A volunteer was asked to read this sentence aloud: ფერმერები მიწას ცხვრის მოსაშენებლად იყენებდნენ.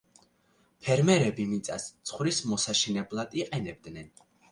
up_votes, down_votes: 2, 0